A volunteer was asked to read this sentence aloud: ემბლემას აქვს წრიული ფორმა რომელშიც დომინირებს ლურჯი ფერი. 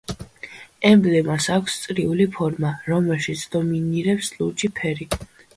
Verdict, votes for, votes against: accepted, 2, 0